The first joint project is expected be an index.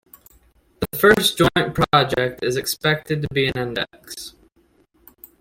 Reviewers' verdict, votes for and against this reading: accepted, 2, 0